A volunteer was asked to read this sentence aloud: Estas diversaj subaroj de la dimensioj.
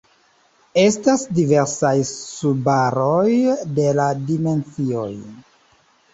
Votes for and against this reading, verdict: 0, 2, rejected